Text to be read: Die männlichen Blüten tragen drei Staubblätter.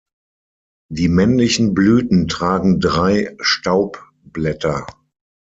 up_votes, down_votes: 6, 0